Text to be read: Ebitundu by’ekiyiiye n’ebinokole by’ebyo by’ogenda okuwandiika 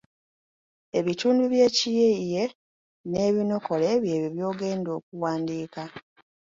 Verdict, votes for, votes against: rejected, 0, 2